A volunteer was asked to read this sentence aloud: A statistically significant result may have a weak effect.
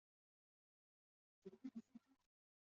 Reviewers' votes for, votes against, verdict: 0, 2, rejected